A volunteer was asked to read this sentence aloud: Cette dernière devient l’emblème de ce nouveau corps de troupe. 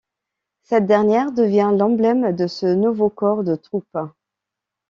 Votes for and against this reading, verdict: 2, 0, accepted